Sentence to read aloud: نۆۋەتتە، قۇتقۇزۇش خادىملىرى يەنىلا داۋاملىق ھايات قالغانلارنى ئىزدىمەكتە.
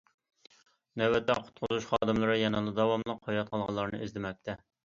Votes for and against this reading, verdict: 3, 0, accepted